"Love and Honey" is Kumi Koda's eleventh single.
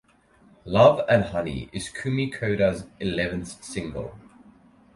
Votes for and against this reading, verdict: 4, 0, accepted